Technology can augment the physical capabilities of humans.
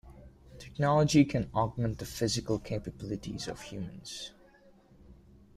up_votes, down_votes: 2, 1